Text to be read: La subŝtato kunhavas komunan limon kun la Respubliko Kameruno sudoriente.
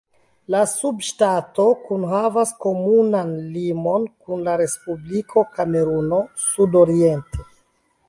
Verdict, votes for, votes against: accepted, 3, 1